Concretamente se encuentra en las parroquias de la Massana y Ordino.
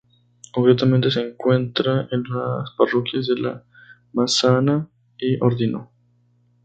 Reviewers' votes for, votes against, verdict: 2, 2, rejected